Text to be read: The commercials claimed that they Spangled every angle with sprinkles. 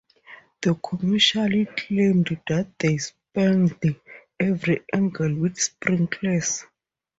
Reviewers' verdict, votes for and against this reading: rejected, 2, 2